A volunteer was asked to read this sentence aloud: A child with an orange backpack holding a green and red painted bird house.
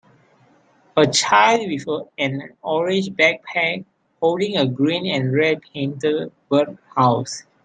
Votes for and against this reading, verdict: 2, 1, accepted